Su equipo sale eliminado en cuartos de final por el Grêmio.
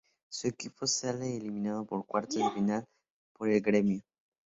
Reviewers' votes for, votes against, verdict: 0, 2, rejected